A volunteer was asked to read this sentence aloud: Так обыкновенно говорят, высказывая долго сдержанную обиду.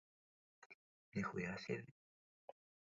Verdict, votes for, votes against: rejected, 0, 2